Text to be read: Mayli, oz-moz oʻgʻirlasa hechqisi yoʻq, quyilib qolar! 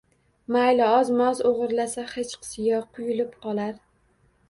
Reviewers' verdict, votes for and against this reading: rejected, 1, 2